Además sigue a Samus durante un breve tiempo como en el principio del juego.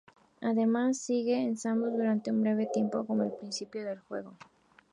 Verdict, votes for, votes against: accepted, 2, 0